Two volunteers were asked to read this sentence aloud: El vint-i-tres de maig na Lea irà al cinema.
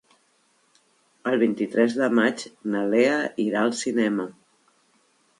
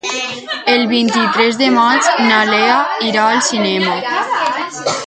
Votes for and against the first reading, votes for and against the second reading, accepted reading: 3, 0, 2, 4, first